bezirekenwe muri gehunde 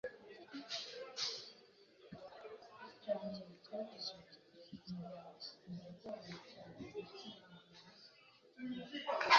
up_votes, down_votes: 0, 2